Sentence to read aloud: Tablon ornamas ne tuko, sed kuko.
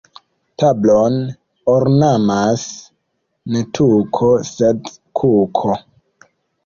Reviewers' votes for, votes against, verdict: 2, 1, accepted